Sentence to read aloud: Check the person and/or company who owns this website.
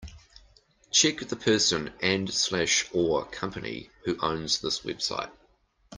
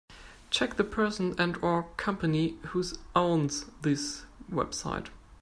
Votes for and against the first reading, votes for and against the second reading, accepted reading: 2, 1, 0, 2, first